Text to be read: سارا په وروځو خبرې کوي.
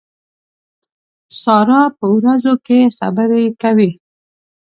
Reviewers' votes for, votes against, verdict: 2, 1, accepted